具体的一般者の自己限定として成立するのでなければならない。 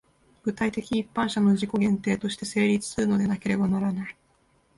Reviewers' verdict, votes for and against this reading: accepted, 2, 0